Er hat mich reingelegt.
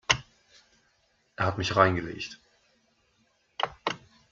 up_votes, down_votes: 0, 2